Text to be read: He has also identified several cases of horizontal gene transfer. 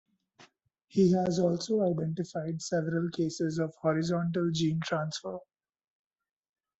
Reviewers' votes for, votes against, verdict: 1, 2, rejected